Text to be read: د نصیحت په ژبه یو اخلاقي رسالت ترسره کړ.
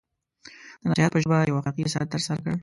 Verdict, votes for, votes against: rejected, 1, 2